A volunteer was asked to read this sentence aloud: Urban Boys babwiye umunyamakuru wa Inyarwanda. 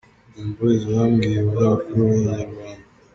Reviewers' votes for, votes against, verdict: 2, 3, rejected